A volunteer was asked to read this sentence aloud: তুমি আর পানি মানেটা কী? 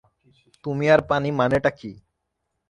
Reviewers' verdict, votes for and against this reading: rejected, 0, 3